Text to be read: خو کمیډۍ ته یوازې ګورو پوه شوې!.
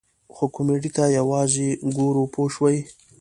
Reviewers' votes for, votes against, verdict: 2, 0, accepted